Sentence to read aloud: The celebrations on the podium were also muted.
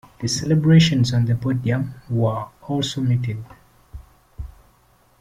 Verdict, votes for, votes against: accepted, 2, 0